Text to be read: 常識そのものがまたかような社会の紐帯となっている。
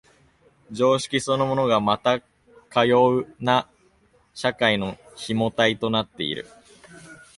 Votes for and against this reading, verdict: 1, 2, rejected